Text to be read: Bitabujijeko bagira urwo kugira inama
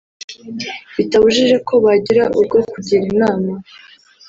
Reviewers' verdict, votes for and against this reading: accepted, 3, 0